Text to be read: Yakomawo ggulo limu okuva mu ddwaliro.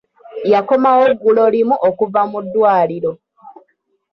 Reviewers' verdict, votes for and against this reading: rejected, 1, 2